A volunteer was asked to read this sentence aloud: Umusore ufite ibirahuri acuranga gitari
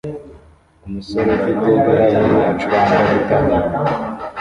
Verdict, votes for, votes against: rejected, 1, 2